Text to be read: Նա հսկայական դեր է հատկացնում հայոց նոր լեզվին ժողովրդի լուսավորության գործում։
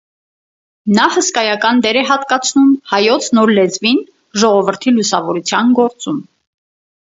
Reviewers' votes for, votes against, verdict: 4, 0, accepted